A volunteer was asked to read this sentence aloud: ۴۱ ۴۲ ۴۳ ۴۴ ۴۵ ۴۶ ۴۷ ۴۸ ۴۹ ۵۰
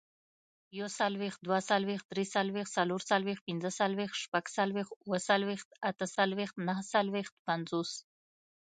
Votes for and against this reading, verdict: 0, 2, rejected